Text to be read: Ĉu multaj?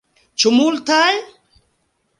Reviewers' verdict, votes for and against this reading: accepted, 2, 0